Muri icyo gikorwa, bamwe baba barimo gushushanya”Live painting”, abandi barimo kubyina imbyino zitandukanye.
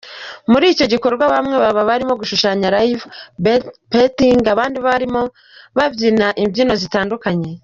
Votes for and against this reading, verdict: 1, 2, rejected